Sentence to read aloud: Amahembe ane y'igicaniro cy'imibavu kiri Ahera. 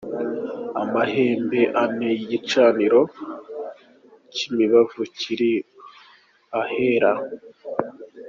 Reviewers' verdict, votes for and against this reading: accepted, 2, 1